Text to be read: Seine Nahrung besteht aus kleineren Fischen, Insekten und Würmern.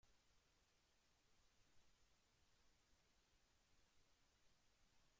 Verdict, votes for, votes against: rejected, 0, 2